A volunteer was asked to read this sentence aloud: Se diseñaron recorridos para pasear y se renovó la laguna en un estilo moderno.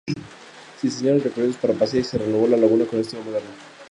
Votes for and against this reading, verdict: 0, 2, rejected